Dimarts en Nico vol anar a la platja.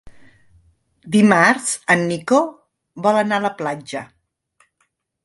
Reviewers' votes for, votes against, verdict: 2, 0, accepted